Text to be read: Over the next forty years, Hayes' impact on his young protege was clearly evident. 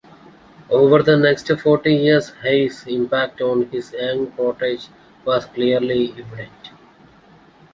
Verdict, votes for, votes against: accepted, 2, 1